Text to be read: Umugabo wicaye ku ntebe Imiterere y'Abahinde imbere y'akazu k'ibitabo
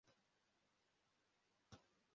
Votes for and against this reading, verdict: 0, 2, rejected